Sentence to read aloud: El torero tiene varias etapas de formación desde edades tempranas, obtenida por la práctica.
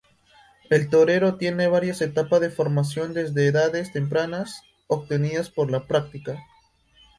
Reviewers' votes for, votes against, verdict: 0, 2, rejected